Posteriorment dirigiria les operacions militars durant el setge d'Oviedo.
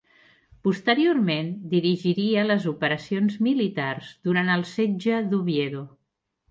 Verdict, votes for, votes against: accepted, 2, 0